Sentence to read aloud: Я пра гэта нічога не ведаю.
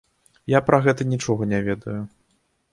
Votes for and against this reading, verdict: 2, 0, accepted